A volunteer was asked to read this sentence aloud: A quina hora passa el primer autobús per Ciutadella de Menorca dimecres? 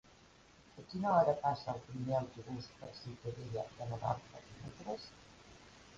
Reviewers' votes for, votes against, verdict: 0, 2, rejected